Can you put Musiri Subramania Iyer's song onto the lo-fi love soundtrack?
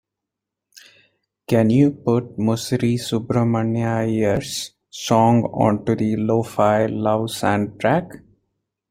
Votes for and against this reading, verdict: 2, 1, accepted